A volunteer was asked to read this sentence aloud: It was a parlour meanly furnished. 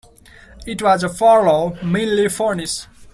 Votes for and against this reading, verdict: 0, 2, rejected